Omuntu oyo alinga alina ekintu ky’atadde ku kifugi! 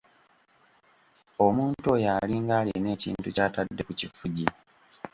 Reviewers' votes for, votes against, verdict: 1, 2, rejected